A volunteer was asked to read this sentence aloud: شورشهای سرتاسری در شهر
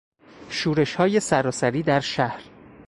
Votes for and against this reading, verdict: 0, 2, rejected